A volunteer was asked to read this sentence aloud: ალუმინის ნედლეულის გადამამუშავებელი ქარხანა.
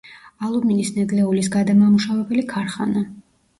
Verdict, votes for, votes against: accepted, 2, 0